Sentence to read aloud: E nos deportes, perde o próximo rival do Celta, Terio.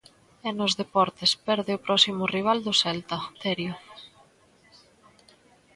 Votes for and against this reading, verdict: 2, 0, accepted